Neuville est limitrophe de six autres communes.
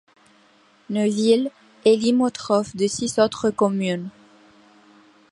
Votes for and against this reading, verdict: 1, 2, rejected